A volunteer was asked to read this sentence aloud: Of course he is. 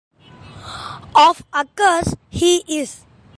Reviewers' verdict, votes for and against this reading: rejected, 1, 2